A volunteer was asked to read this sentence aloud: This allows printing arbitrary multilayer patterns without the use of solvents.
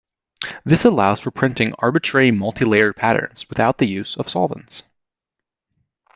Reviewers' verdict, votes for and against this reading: rejected, 0, 2